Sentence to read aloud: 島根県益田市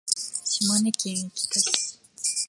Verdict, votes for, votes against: rejected, 0, 2